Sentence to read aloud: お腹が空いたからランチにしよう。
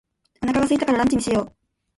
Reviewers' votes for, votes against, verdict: 2, 1, accepted